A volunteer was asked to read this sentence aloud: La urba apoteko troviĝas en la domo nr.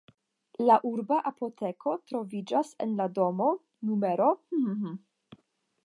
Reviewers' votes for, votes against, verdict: 0, 5, rejected